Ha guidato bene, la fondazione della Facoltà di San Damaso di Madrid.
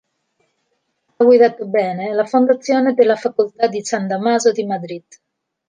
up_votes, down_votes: 0, 2